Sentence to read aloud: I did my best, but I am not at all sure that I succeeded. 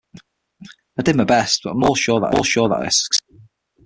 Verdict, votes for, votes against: rejected, 3, 6